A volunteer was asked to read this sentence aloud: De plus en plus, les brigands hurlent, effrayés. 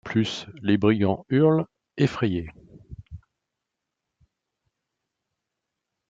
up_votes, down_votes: 1, 2